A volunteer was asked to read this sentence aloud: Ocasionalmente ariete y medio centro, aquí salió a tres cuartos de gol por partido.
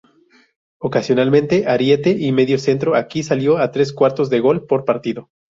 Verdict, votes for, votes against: accepted, 2, 0